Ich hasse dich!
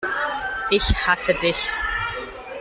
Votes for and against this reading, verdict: 2, 0, accepted